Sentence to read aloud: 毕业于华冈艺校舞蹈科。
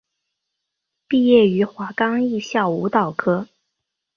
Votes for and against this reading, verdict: 2, 0, accepted